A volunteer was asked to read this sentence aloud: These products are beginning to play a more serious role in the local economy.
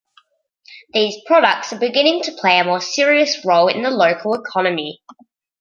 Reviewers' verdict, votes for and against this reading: accepted, 2, 0